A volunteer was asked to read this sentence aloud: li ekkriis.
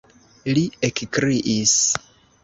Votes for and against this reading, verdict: 2, 0, accepted